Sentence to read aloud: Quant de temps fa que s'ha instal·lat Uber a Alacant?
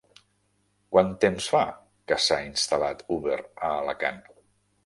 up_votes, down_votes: 0, 2